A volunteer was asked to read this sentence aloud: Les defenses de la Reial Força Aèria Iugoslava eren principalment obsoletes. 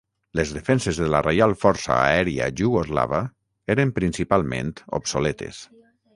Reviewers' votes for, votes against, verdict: 3, 3, rejected